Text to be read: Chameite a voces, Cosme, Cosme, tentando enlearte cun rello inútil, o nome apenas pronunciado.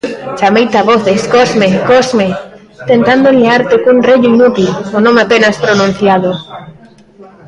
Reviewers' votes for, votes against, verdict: 1, 2, rejected